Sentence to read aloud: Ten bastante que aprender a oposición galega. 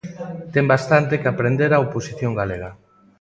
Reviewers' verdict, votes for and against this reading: rejected, 1, 2